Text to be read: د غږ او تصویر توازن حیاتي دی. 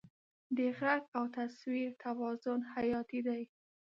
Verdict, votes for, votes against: accepted, 2, 1